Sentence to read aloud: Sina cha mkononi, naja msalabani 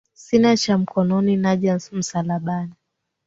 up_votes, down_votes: 2, 1